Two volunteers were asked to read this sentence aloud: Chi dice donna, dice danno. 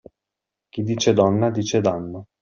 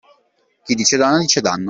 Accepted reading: first